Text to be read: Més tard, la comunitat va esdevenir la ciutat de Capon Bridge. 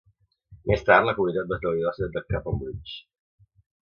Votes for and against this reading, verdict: 1, 2, rejected